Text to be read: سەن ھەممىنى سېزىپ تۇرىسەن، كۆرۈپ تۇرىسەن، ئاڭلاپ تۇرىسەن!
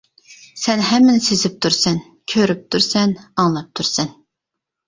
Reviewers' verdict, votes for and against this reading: accepted, 2, 0